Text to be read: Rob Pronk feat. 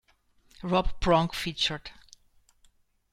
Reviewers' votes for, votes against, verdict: 1, 2, rejected